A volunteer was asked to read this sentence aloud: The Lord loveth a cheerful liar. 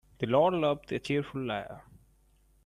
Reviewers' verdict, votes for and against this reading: rejected, 1, 2